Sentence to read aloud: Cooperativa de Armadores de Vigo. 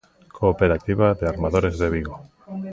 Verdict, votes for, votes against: rejected, 1, 2